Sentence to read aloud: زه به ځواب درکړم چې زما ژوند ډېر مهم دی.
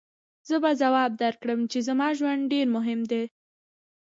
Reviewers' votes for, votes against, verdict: 2, 0, accepted